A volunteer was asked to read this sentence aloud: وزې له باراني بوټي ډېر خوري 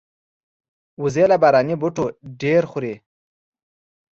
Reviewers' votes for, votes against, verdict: 3, 1, accepted